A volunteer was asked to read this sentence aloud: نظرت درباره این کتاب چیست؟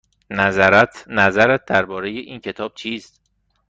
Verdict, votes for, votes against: rejected, 1, 2